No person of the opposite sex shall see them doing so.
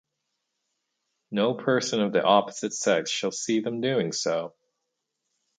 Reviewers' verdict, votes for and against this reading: accepted, 4, 0